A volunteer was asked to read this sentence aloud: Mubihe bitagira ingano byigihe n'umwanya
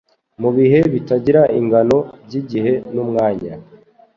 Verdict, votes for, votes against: accepted, 2, 0